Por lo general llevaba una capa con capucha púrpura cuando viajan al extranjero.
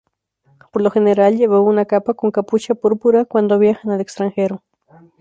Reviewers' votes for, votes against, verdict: 0, 2, rejected